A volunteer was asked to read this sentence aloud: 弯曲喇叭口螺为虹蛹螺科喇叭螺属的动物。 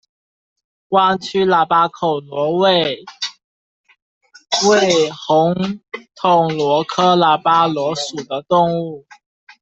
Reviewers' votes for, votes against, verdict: 0, 2, rejected